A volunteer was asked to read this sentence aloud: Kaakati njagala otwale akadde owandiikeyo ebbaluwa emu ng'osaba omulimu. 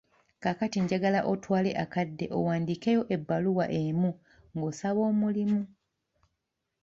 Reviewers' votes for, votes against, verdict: 2, 1, accepted